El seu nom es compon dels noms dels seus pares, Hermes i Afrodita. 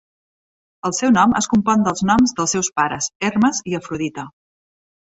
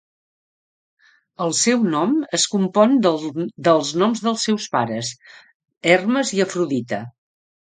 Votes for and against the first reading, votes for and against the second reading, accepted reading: 3, 0, 0, 2, first